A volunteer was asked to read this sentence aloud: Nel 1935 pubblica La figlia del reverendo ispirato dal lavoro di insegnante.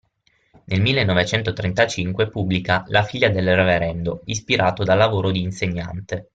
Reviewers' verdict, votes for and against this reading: rejected, 0, 2